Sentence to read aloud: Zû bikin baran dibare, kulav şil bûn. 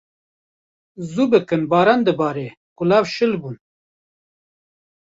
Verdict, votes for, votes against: rejected, 1, 2